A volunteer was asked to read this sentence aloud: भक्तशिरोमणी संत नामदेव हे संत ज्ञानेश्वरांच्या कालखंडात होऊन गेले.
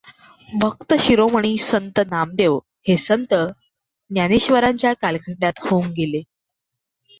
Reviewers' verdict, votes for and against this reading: accepted, 2, 0